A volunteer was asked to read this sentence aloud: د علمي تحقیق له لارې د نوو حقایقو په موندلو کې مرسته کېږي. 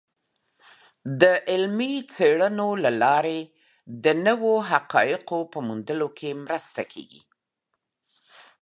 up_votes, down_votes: 0, 2